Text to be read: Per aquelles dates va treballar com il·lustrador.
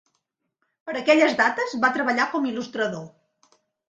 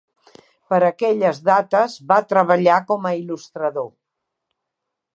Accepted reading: first